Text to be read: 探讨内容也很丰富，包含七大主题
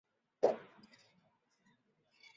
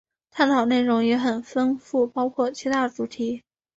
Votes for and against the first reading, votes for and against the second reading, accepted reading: 0, 5, 2, 0, second